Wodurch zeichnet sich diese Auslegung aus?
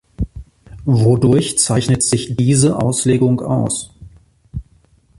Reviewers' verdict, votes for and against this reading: accepted, 2, 0